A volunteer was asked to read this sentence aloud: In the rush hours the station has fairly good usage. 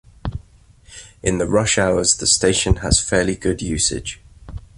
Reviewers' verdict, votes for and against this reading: accepted, 2, 0